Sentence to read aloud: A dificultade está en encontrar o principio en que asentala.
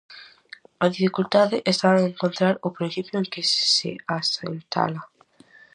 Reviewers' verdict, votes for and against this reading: rejected, 0, 4